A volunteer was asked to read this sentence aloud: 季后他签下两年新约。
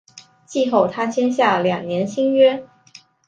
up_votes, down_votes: 2, 0